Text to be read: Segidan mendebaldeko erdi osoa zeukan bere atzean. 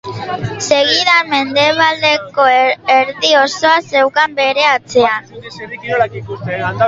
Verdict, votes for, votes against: rejected, 0, 2